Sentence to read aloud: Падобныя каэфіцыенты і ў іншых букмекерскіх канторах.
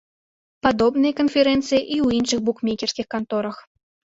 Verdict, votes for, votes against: rejected, 0, 2